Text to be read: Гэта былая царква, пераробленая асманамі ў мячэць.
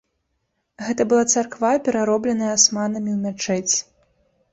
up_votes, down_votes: 1, 2